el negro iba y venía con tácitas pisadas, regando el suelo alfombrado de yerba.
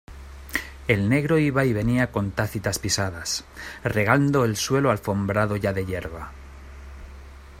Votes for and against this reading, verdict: 0, 2, rejected